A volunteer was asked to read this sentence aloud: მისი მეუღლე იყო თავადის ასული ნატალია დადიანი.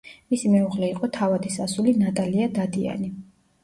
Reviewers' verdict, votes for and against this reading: accepted, 2, 0